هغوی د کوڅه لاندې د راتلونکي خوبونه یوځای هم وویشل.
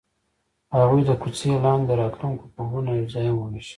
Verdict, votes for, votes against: accepted, 2, 0